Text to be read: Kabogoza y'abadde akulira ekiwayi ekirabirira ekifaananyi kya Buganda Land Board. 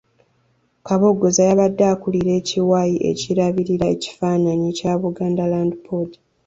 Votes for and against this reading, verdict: 2, 0, accepted